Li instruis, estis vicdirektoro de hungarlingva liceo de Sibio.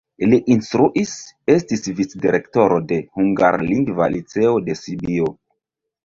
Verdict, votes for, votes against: accepted, 2, 0